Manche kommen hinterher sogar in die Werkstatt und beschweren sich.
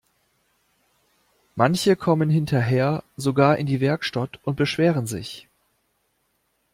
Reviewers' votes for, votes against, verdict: 2, 0, accepted